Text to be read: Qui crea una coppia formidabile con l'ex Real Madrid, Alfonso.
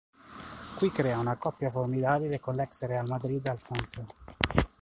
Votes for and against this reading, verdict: 2, 0, accepted